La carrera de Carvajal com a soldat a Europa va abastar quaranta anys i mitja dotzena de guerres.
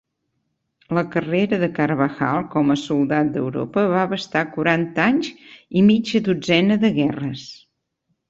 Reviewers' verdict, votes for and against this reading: accepted, 2, 1